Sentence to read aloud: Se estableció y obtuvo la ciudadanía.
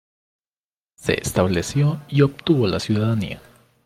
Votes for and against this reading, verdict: 2, 0, accepted